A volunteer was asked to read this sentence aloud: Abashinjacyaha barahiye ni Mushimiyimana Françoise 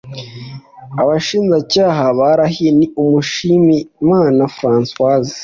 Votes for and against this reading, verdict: 2, 0, accepted